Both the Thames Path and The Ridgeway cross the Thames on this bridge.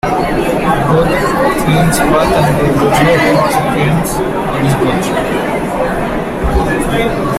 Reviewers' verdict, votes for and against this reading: rejected, 0, 2